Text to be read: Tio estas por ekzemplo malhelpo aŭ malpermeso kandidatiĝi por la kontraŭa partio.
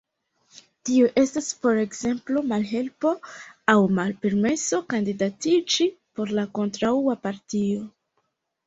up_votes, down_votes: 0, 2